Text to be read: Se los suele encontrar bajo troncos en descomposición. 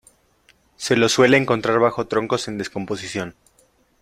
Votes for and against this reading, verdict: 2, 0, accepted